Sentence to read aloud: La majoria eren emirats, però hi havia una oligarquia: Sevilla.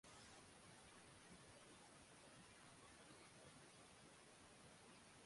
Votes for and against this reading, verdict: 0, 2, rejected